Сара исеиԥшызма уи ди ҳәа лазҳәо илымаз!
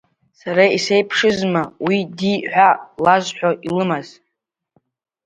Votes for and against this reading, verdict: 2, 0, accepted